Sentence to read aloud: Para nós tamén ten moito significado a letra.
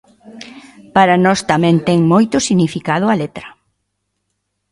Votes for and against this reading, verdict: 2, 0, accepted